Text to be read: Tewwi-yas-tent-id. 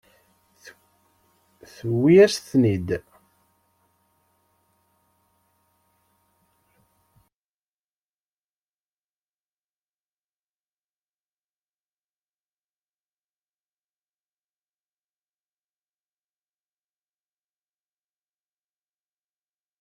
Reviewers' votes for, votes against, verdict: 0, 2, rejected